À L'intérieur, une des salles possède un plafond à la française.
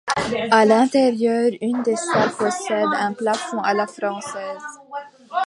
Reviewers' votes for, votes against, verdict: 2, 1, accepted